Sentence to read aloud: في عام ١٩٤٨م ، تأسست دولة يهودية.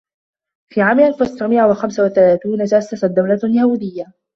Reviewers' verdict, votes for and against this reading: rejected, 0, 2